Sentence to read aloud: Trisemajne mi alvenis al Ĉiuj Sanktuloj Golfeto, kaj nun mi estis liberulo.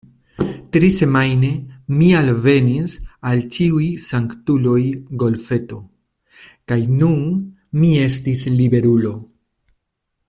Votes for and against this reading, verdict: 2, 0, accepted